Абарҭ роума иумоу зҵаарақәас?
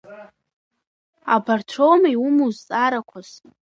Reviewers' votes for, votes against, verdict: 2, 0, accepted